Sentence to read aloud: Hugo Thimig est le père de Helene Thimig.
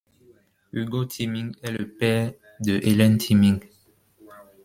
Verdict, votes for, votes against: rejected, 0, 2